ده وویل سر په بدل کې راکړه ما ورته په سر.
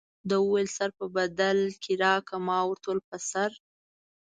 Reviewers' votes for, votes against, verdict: 2, 0, accepted